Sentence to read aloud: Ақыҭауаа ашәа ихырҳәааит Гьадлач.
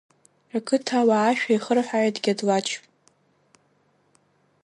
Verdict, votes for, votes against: rejected, 0, 2